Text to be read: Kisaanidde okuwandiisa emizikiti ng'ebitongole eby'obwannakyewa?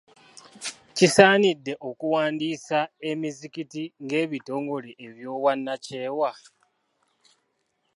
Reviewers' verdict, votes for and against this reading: accepted, 2, 0